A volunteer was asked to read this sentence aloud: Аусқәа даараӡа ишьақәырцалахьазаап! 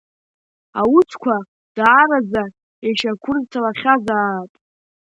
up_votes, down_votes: 1, 2